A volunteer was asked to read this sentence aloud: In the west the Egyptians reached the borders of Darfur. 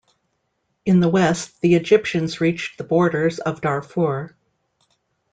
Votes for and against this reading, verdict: 2, 0, accepted